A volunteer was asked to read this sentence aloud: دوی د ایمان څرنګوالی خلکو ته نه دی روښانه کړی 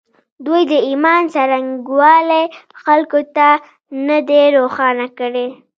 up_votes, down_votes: 0, 2